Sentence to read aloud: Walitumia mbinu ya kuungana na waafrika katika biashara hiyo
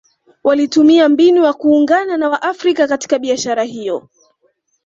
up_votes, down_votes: 2, 0